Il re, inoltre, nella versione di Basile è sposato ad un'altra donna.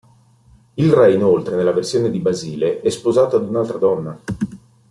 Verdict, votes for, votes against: accepted, 2, 0